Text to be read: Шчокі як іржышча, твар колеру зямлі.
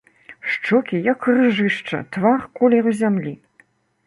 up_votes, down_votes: 2, 0